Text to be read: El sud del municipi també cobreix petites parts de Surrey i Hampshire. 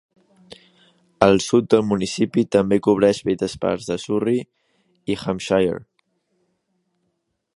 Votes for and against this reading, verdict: 0, 2, rejected